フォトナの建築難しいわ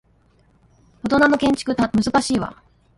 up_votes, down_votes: 0, 2